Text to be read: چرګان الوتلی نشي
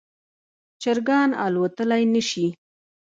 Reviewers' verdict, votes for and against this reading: rejected, 1, 2